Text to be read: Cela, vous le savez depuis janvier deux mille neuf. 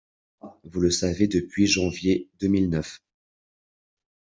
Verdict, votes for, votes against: rejected, 0, 2